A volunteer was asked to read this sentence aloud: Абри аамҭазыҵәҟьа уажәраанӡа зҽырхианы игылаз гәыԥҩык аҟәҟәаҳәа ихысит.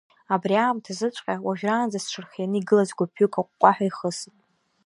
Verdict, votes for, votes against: accepted, 2, 0